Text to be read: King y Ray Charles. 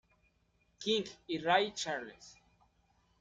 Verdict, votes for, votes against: accepted, 2, 0